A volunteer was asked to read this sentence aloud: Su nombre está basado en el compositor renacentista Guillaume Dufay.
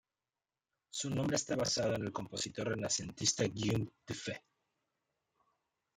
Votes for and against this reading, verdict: 0, 2, rejected